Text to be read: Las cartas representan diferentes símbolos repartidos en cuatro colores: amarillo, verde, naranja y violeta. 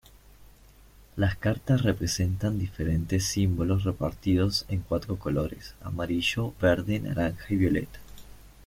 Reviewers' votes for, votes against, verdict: 2, 0, accepted